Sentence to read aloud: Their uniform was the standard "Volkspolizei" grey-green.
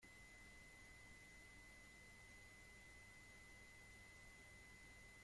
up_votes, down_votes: 0, 2